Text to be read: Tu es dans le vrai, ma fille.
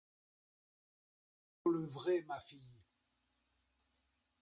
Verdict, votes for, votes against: rejected, 0, 2